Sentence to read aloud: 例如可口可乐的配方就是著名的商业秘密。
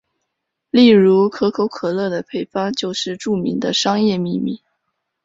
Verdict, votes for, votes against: accepted, 4, 0